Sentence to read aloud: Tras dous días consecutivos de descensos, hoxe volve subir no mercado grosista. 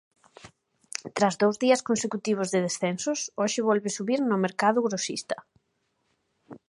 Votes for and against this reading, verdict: 2, 0, accepted